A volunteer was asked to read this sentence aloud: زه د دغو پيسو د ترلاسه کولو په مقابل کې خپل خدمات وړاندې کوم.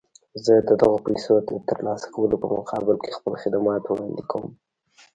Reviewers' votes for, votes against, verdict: 0, 2, rejected